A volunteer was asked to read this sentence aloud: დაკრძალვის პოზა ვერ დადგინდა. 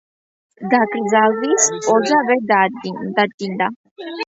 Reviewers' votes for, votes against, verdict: 1, 2, rejected